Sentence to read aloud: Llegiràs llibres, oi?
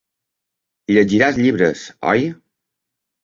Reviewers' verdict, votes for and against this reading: accepted, 3, 0